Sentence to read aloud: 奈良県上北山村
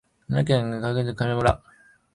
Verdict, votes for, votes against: rejected, 1, 4